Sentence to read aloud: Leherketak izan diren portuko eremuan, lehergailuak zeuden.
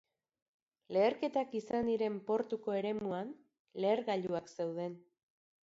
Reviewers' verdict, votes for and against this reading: rejected, 1, 2